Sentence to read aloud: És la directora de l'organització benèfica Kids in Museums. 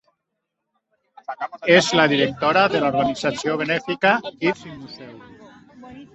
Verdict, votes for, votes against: rejected, 1, 2